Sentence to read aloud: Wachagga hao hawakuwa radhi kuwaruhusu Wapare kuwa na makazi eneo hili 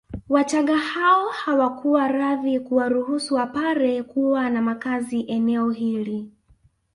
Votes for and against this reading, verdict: 2, 0, accepted